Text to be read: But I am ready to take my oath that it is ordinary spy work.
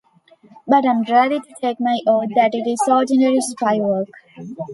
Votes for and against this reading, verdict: 2, 0, accepted